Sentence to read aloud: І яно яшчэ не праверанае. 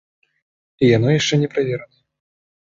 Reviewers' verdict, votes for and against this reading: accepted, 2, 0